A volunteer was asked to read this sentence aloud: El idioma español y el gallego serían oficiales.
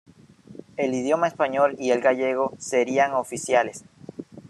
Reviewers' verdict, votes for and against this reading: rejected, 1, 2